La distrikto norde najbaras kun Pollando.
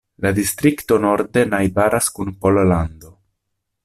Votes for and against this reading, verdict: 1, 2, rejected